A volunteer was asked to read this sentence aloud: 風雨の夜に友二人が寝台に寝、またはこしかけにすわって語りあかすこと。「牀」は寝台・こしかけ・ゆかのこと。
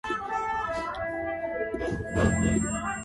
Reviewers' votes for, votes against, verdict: 0, 2, rejected